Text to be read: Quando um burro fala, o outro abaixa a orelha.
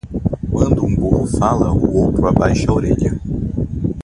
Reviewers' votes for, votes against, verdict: 2, 0, accepted